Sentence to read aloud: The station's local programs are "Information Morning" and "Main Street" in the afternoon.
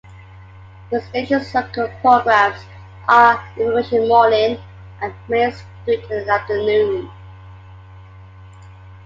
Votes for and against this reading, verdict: 0, 2, rejected